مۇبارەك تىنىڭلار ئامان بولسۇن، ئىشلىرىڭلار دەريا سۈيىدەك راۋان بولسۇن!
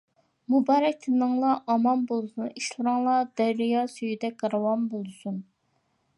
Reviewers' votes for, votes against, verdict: 2, 1, accepted